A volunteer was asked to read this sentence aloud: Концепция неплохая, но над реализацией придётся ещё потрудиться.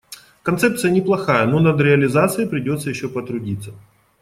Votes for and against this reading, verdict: 2, 0, accepted